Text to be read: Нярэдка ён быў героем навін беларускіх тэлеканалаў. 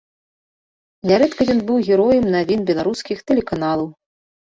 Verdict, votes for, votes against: rejected, 1, 2